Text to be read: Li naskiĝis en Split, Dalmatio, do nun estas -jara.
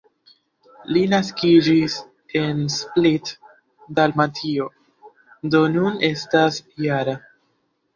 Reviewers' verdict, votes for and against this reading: accepted, 2, 0